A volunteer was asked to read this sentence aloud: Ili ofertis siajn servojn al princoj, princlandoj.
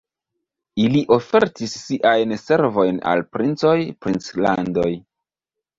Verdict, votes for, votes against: accepted, 2, 0